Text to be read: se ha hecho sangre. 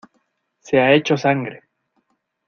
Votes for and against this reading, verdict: 2, 0, accepted